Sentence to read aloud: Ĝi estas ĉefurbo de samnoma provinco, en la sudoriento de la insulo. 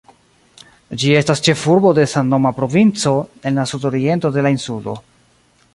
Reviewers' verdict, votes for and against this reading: rejected, 0, 2